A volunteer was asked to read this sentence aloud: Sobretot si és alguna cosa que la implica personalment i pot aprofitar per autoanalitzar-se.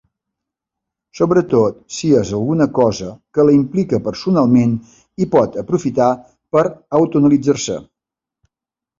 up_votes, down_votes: 1, 2